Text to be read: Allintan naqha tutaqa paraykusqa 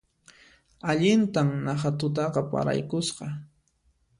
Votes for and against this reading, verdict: 2, 0, accepted